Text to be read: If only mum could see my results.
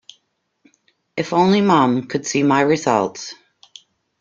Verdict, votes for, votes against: accepted, 2, 0